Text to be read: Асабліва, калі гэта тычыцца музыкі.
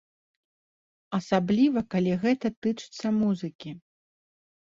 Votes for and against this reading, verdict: 2, 0, accepted